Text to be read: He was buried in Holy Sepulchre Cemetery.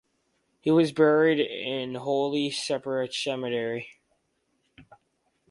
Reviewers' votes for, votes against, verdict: 4, 0, accepted